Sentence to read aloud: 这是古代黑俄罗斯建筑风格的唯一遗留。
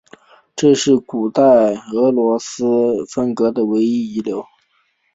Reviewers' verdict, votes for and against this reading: rejected, 1, 3